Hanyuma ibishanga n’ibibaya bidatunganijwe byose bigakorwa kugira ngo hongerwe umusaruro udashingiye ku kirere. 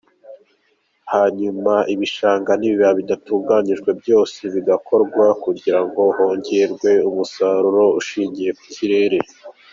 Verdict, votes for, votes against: accepted, 2, 1